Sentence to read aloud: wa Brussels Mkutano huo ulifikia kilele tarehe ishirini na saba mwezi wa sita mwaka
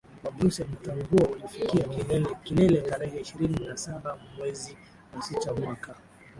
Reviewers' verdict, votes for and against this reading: rejected, 0, 2